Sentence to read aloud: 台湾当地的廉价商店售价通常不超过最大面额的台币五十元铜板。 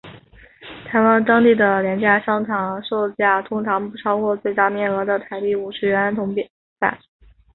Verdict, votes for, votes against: accepted, 3, 0